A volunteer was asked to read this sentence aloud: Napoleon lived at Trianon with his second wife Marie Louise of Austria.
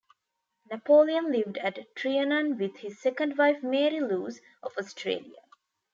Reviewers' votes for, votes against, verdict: 1, 2, rejected